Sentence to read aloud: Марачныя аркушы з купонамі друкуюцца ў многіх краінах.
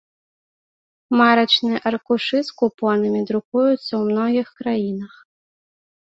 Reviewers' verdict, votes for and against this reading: accepted, 2, 0